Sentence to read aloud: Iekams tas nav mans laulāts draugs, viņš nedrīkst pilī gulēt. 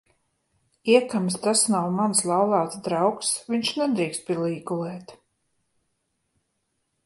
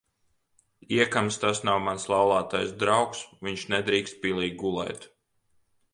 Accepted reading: first